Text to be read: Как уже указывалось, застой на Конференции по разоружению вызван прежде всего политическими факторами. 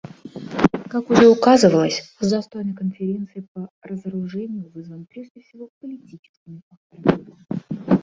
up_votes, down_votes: 0, 2